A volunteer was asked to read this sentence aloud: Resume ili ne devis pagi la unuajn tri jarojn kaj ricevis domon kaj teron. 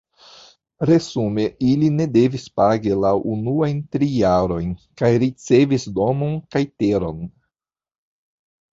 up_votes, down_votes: 2, 1